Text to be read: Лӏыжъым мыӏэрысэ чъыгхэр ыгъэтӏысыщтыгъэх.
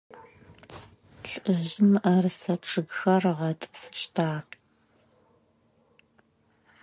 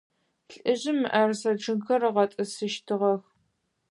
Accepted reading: second